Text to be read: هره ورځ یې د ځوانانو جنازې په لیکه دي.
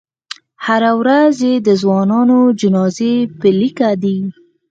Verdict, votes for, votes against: accepted, 4, 0